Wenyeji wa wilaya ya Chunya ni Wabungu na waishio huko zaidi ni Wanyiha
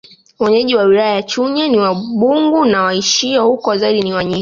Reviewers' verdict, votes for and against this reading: rejected, 0, 2